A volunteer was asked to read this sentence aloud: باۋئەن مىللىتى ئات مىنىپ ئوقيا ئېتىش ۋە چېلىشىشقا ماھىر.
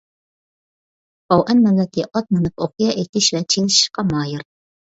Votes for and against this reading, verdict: 1, 2, rejected